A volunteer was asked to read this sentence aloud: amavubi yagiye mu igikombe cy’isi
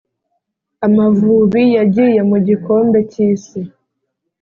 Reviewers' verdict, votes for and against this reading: accepted, 2, 0